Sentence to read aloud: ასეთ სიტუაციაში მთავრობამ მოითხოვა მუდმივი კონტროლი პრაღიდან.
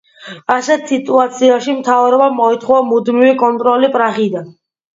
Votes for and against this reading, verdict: 2, 0, accepted